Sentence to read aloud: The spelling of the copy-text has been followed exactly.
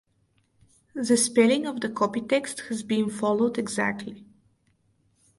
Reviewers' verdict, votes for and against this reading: accepted, 2, 0